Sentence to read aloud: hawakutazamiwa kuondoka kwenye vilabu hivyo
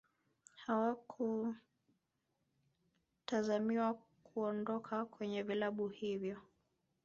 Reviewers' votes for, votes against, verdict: 1, 2, rejected